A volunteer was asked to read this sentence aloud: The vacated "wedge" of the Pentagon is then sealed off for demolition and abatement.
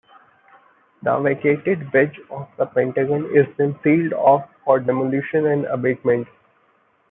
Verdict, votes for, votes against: accepted, 2, 1